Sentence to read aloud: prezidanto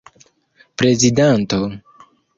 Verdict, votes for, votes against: accepted, 2, 0